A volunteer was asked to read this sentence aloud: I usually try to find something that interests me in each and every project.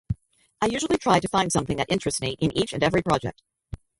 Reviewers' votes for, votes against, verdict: 0, 2, rejected